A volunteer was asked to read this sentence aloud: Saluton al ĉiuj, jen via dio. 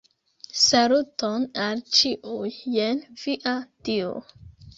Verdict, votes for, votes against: rejected, 0, 2